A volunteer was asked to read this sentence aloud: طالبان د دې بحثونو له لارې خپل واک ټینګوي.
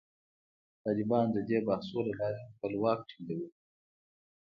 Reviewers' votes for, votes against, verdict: 2, 0, accepted